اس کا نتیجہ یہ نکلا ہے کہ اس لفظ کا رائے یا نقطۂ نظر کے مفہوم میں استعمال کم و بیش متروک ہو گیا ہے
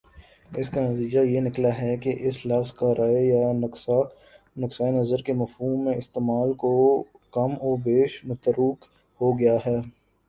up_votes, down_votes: 9, 3